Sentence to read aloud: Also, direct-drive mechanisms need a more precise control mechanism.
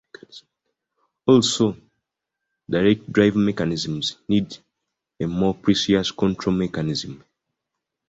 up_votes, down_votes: 0, 2